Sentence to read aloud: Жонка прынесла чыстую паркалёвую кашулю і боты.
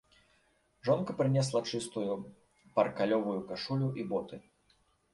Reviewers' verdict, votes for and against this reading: accepted, 2, 0